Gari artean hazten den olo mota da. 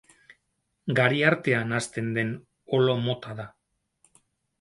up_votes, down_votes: 0, 2